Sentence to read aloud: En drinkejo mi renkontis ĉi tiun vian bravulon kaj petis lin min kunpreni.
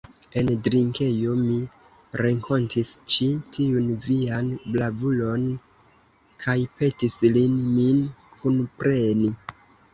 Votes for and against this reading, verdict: 0, 2, rejected